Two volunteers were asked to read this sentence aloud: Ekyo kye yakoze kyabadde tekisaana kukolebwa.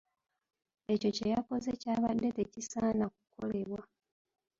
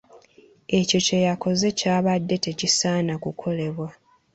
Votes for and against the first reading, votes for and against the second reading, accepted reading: 1, 3, 2, 0, second